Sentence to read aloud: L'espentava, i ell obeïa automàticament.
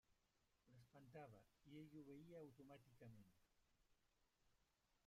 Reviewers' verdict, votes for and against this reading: rejected, 0, 2